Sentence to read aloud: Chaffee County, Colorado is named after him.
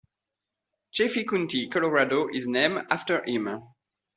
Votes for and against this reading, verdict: 2, 1, accepted